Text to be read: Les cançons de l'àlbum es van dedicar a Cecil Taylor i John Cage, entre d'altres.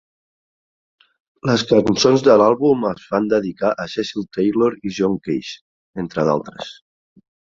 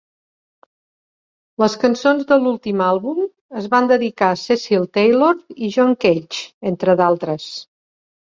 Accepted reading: first